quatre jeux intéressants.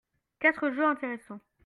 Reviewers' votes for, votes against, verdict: 2, 0, accepted